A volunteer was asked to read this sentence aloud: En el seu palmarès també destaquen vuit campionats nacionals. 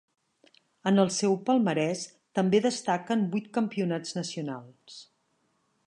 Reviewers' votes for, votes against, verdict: 4, 0, accepted